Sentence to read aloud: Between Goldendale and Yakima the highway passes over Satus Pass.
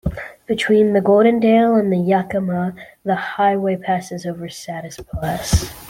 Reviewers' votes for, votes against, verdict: 0, 2, rejected